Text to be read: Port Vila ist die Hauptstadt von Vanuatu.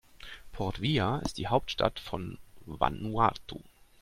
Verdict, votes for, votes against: accepted, 2, 0